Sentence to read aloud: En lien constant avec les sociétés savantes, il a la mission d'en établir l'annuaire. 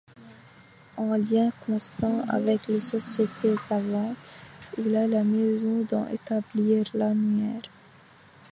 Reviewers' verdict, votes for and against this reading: rejected, 0, 2